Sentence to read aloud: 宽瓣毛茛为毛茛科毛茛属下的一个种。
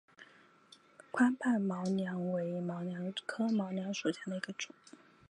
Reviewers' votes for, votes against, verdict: 0, 2, rejected